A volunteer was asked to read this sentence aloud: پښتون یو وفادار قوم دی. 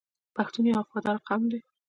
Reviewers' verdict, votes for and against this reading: accepted, 2, 0